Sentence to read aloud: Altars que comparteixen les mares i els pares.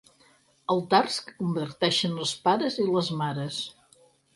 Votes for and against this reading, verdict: 0, 6, rejected